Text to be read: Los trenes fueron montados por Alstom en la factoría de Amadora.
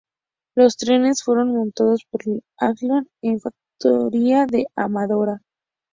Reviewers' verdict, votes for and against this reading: rejected, 2, 2